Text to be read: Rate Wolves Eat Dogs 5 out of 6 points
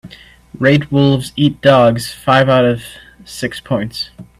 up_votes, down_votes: 0, 2